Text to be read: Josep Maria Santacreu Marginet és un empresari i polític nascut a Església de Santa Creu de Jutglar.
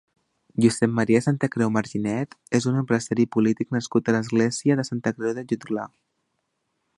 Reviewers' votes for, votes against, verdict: 2, 0, accepted